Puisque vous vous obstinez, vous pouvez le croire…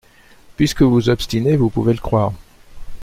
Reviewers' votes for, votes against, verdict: 1, 2, rejected